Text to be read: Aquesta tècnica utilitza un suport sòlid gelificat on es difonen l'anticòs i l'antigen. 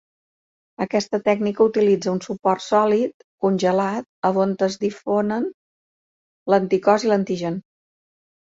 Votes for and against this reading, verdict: 0, 2, rejected